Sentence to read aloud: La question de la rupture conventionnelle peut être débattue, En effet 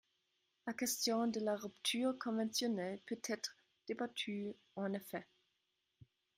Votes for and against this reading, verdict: 1, 2, rejected